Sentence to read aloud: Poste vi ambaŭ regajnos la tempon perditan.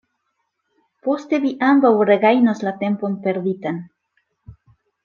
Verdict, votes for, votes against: accepted, 2, 0